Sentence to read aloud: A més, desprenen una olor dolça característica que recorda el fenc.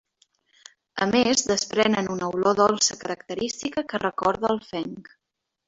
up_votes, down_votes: 0, 2